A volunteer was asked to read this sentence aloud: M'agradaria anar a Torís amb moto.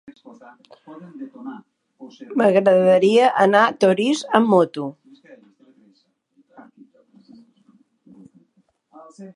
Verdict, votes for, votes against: rejected, 1, 2